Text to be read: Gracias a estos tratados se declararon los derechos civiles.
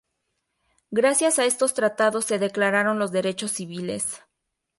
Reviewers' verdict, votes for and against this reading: accepted, 2, 0